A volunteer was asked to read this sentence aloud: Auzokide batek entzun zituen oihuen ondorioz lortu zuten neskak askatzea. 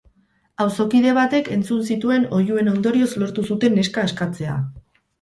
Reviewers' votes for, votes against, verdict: 0, 4, rejected